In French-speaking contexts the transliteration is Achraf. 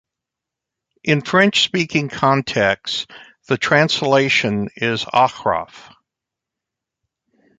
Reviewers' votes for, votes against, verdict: 0, 2, rejected